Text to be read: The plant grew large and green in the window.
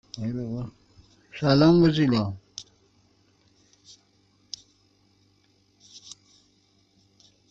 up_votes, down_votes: 0, 2